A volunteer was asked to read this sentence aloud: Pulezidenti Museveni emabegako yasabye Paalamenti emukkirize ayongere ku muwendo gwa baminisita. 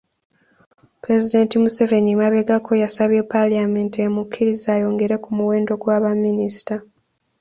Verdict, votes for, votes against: accepted, 2, 0